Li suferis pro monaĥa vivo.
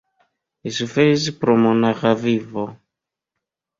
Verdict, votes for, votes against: accepted, 2, 0